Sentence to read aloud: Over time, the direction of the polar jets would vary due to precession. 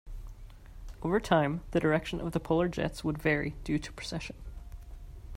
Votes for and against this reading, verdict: 2, 0, accepted